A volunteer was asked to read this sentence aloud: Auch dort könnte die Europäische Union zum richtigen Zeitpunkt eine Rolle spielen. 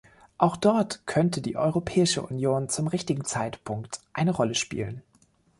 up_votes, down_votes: 2, 0